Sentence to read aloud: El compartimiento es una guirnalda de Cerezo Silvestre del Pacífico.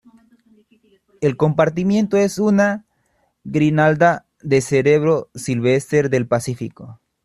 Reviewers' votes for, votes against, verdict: 0, 2, rejected